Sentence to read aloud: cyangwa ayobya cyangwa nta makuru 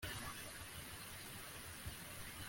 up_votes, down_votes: 1, 2